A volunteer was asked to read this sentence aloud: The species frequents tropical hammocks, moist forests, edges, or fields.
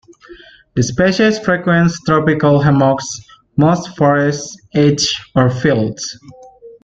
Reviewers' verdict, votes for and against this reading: accepted, 2, 1